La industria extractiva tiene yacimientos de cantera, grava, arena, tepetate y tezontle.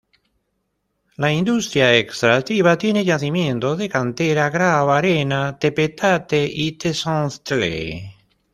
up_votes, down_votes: 1, 2